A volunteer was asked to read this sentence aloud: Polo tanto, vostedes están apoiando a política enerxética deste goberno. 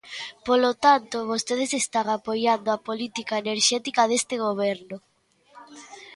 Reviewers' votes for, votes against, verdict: 2, 1, accepted